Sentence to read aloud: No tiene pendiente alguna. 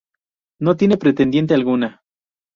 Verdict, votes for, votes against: rejected, 0, 2